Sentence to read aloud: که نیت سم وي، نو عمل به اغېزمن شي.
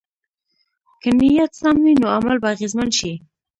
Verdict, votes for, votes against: rejected, 0, 2